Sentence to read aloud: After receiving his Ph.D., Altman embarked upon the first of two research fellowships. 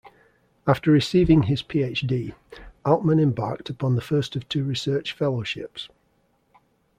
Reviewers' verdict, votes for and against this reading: accepted, 2, 0